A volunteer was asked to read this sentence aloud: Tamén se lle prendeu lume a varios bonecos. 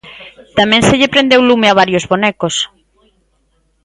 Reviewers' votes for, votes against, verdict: 2, 0, accepted